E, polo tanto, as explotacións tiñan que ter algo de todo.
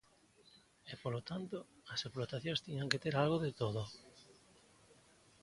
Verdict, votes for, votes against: rejected, 1, 2